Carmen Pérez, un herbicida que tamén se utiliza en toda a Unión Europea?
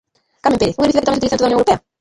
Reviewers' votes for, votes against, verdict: 0, 2, rejected